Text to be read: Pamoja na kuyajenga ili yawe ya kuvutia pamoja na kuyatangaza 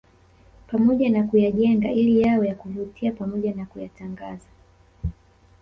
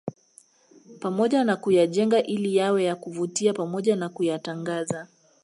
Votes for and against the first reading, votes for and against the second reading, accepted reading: 2, 1, 1, 2, first